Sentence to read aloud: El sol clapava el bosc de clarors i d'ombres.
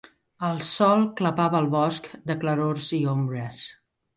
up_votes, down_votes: 0, 2